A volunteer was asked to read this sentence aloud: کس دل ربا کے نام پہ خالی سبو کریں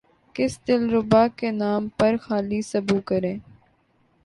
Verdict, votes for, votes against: rejected, 1, 2